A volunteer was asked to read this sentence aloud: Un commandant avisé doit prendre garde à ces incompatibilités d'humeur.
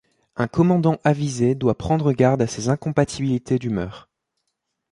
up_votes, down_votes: 2, 0